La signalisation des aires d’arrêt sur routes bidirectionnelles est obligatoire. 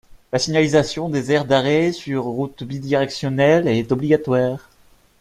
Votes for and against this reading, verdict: 1, 2, rejected